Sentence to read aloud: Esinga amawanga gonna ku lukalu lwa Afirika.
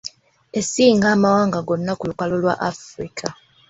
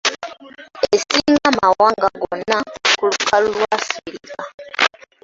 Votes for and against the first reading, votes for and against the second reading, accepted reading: 2, 0, 0, 2, first